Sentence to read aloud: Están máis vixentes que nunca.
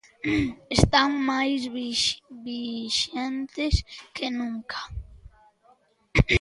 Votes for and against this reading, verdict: 0, 2, rejected